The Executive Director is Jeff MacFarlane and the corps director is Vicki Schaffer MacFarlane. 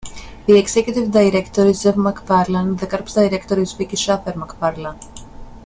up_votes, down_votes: 1, 2